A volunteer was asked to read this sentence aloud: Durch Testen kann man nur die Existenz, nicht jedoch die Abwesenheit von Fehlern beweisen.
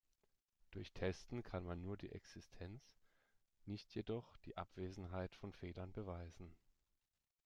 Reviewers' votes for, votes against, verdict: 2, 1, accepted